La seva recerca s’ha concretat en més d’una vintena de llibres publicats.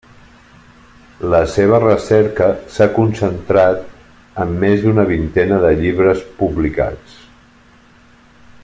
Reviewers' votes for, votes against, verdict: 0, 2, rejected